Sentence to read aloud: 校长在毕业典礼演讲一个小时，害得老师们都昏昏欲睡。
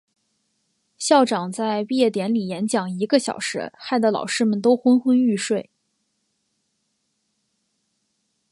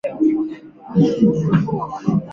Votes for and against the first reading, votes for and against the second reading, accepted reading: 2, 0, 0, 2, first